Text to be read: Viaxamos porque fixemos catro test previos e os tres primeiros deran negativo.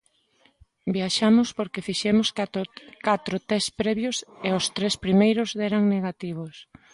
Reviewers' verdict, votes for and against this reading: rejected, 0, 2